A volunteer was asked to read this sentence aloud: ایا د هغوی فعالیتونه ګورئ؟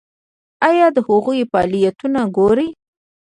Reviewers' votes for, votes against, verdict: 0, 2, rejected